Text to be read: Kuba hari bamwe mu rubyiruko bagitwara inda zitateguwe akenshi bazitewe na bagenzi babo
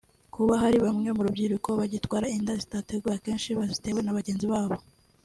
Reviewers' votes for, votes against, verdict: 2, 0, accepted